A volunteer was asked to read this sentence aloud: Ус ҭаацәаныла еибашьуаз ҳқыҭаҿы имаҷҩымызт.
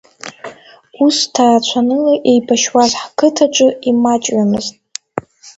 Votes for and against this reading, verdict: 2, 0, accepted